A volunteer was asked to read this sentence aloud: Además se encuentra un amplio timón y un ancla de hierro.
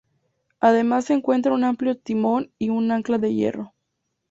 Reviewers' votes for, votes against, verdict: 2, 0, accepted